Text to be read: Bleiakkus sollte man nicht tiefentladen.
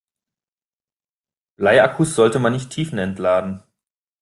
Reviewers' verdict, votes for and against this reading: rejected, 1, 2